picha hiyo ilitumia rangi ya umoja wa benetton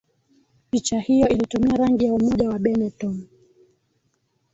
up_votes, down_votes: 1, 2